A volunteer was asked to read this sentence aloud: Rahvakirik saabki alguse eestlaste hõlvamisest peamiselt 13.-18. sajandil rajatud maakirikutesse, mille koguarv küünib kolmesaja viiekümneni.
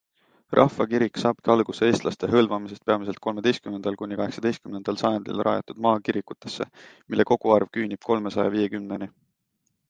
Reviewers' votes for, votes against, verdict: 0, 2, rejected